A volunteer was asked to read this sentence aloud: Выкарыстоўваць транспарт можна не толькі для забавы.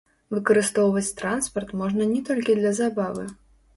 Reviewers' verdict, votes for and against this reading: rejected, 1, 2